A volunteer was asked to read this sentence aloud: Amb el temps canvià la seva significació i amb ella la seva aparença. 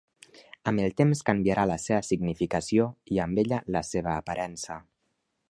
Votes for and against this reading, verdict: 1, 2, rejected